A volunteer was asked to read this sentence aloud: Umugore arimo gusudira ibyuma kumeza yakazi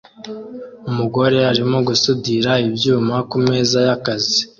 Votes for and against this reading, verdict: 2, 0, accepted